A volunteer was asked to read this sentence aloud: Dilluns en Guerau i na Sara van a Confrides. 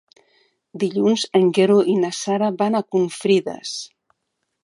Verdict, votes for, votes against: rejected, 1, 2